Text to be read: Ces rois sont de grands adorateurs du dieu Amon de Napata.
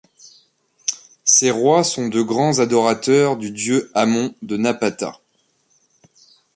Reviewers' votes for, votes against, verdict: 2, 0, accepted